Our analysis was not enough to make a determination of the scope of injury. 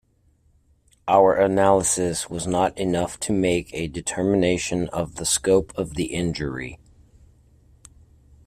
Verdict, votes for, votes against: rejected, 1, 2